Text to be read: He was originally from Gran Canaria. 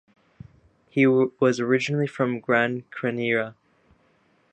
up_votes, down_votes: 0, 2